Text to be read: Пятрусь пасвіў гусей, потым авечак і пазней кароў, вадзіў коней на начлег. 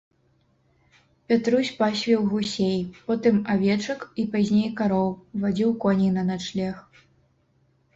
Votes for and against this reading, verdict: 0, 2, rejected